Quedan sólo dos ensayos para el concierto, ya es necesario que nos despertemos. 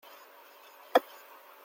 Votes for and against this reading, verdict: 0, 2, rejected